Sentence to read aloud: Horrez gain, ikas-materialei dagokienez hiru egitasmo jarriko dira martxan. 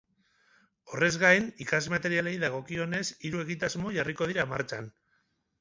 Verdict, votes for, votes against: accepted, 6, 0